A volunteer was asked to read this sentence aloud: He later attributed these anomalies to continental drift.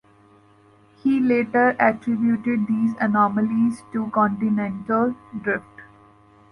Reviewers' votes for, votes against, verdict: 2, 1, accepted